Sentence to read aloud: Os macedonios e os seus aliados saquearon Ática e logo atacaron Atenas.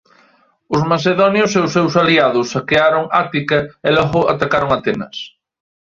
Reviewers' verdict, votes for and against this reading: accepted, 2, 1